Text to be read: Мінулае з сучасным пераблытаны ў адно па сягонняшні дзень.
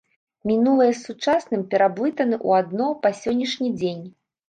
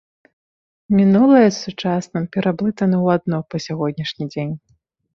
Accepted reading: second